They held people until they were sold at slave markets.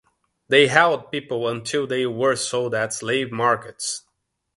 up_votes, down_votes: 2, 0